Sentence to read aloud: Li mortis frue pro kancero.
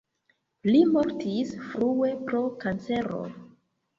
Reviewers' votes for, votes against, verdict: 1, 2, rejected